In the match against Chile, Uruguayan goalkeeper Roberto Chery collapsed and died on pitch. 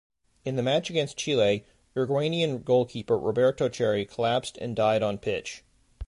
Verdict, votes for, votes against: accepted, 2, 0